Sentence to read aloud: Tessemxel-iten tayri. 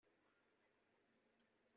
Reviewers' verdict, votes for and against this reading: rejected, 0, 2